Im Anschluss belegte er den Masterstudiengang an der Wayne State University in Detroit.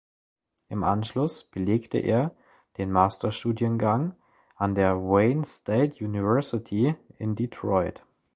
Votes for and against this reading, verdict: 2, 0, accepted